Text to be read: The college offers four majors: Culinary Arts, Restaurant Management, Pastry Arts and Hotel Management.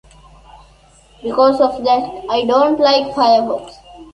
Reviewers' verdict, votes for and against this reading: rejected, 0, 3